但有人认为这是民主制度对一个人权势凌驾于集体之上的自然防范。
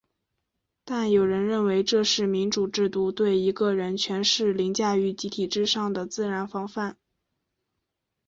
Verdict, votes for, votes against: accepted, 3, 1